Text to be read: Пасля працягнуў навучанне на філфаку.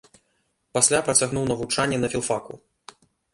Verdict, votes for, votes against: accepted, 2, 0